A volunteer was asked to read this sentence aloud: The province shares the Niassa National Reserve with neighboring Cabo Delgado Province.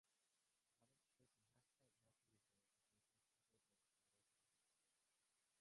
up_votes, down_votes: 0, 2